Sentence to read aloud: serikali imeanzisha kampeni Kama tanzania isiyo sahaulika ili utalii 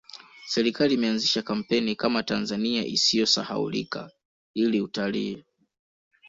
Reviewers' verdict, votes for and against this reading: accepted, 2, 1